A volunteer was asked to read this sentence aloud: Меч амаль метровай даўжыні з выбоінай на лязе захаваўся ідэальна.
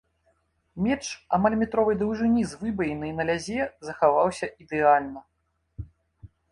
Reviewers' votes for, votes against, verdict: 2, 0, accepted